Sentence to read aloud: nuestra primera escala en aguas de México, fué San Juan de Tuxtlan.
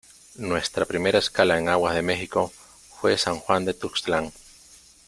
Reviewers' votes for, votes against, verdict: 2, 1, accepted